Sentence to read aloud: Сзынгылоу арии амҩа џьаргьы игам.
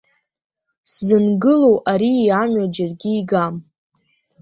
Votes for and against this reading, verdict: 1, 2, rejected